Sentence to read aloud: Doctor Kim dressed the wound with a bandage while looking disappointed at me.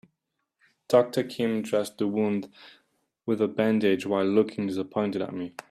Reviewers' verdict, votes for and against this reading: accepted, 2, 0